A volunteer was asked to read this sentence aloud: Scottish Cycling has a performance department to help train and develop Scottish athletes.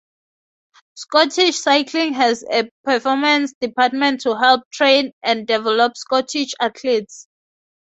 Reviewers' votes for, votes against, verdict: 2, 2, rejected